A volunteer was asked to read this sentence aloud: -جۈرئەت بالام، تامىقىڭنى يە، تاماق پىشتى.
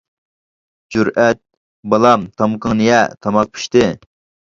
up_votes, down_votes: 1, 2